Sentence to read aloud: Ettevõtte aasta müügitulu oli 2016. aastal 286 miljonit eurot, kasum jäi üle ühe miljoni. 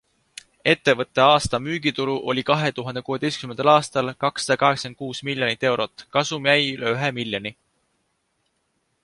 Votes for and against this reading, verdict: 0, 2, rejected